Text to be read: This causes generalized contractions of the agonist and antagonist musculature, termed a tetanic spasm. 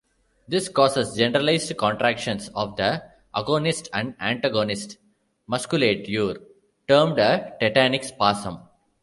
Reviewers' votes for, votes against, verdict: 0, 2, rejected